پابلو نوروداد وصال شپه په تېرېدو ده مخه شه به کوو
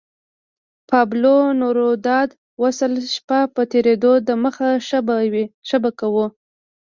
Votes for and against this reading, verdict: 1, 2, rejected